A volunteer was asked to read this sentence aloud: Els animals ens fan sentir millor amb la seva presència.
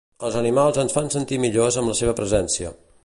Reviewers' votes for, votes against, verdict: 1, 2, rejected